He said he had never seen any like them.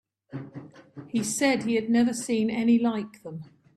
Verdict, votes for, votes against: accepted, 2, 0